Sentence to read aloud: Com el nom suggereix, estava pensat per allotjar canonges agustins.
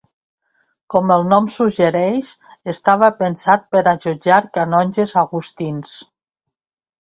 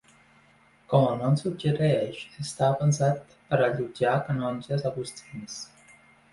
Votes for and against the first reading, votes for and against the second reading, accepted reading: 1, 2, 2, 0, second